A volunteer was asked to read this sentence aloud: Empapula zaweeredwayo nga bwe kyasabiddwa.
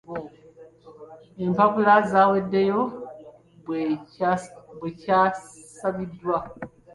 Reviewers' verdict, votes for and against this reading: rejected, 0, 2